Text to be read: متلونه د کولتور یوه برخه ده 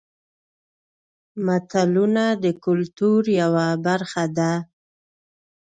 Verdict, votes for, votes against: accepted, 2, 0